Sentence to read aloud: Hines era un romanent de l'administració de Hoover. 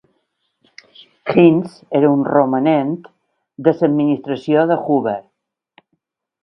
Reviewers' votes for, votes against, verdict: 1, 2, rejected